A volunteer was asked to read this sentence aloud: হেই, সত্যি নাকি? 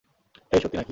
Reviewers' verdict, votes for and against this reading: rejected, 0, 2